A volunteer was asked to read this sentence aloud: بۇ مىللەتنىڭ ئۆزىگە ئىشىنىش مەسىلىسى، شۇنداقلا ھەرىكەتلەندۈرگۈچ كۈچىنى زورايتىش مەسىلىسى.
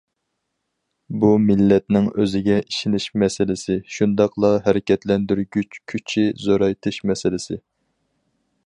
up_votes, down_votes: 0, 4